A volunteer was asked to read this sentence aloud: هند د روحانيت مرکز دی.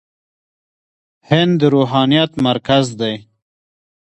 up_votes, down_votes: 1, 2